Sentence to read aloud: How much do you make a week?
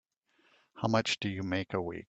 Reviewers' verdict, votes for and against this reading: accepted, 2, 0